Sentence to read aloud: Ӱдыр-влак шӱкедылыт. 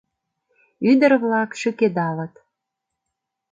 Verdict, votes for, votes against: rejected, 0, 2